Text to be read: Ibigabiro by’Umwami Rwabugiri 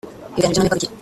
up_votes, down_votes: 0, 2